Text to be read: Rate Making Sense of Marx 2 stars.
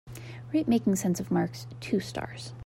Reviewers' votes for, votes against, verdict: 0, 2, rejected